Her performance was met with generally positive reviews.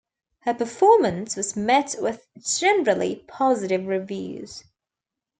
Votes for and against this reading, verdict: 2, 0, accepted